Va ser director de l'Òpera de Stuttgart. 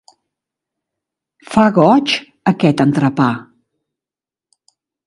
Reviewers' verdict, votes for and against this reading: rejected, 0, 2